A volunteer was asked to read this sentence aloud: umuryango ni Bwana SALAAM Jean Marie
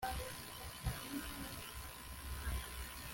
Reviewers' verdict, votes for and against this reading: rejected, 0, 2